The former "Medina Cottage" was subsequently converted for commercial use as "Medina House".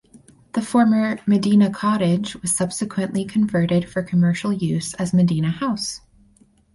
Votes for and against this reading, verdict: 4, 0, accepted